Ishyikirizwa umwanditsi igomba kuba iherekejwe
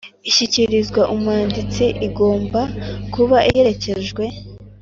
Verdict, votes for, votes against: accepted, 3, 0